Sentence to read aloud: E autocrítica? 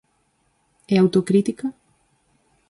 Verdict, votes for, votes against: accepted, 4, 0